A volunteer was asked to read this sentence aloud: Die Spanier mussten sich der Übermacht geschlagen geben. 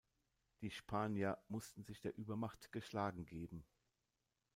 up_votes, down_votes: 2, 0